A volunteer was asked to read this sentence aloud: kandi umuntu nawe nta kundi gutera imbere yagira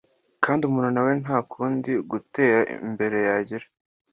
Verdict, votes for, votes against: accepted, 2, 0